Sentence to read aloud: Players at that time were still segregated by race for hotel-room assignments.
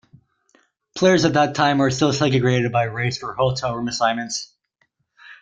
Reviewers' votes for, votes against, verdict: 2, 0, accepted